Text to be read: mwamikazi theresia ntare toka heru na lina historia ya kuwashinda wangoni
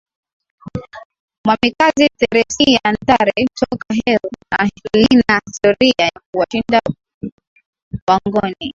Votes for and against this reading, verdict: 2, 1, accepted